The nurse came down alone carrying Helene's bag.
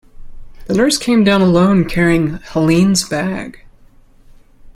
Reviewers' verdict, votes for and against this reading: accepted, 2, 0